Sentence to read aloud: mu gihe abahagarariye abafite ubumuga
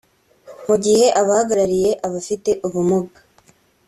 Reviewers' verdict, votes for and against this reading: accepted, 2, 0